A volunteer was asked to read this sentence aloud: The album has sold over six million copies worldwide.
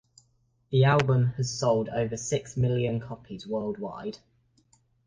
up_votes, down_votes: 2, 0